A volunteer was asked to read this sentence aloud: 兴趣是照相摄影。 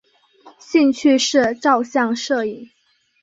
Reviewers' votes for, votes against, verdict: 2, 0, accepted